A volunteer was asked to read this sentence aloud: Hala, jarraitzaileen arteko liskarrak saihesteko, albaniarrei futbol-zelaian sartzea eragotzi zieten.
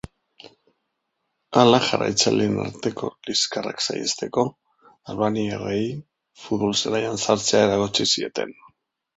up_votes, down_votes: 3, 0